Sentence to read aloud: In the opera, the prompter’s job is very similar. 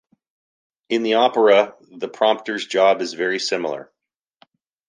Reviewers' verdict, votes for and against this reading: accepted, 2, 0